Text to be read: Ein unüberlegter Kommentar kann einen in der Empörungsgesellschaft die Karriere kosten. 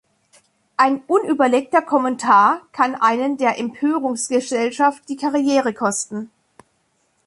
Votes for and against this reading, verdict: 1, 2, rejected